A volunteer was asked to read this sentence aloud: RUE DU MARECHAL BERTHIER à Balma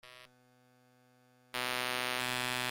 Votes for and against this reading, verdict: 0, 2, rejected